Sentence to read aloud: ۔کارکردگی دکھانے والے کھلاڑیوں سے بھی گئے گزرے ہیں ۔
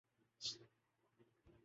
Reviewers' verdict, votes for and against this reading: rejected, 0, 2